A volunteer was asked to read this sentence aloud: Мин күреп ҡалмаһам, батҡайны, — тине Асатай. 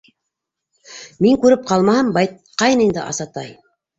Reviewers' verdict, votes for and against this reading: rejected, 0, 2